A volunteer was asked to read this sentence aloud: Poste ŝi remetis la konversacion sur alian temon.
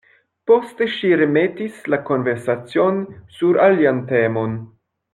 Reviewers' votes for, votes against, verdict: 0, 2, rejected